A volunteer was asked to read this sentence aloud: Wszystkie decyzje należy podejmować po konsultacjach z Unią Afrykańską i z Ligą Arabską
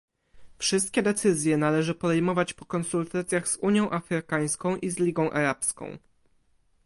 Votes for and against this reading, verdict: 2, 1, accepted